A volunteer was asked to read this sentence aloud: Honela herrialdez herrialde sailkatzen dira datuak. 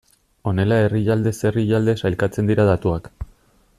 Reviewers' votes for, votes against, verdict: 2, 0, accepted